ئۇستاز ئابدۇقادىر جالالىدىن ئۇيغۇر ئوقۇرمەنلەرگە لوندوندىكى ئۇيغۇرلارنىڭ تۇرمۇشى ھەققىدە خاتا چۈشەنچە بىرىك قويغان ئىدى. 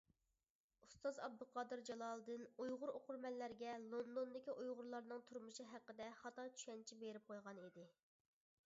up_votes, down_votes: 0, 2